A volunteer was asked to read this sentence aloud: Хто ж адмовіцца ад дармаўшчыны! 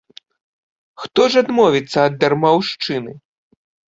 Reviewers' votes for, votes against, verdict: 2, 0, accepted